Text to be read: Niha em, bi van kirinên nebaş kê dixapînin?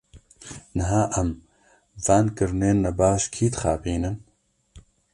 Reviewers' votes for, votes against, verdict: 1, 2, rejected